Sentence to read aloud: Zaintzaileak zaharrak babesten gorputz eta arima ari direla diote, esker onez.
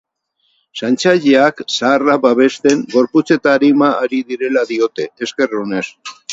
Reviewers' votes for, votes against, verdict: 8, 0, accepted